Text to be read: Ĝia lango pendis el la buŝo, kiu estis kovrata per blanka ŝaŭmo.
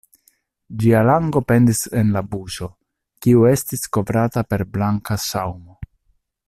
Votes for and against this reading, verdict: 0, 2, rejected